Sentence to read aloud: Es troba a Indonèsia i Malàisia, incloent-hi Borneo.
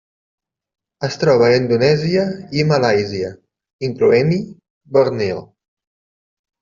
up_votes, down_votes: 0, 2